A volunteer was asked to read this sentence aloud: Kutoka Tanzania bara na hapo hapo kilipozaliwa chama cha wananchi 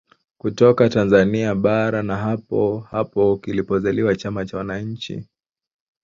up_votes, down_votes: 1, 2